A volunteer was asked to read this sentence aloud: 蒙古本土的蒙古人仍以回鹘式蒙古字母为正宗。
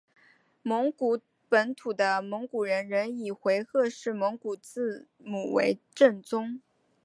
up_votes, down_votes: 1, 2